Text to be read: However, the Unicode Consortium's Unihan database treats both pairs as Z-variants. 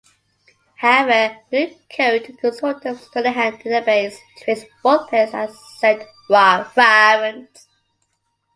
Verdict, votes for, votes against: rejected, 0, 2